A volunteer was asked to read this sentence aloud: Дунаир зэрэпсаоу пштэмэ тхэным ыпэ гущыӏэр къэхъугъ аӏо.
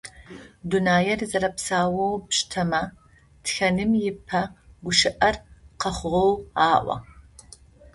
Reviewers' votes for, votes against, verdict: 0, 2, rejected